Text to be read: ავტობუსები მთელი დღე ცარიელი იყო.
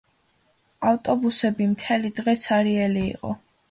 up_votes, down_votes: 2, 1